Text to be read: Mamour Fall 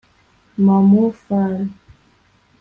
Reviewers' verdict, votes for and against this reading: rejected, 0, 2